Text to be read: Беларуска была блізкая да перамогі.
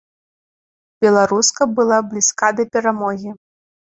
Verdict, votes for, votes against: rejected, 1, 3